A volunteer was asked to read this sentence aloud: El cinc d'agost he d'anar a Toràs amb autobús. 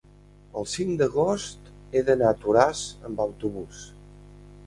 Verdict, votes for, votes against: accepted, 2, 0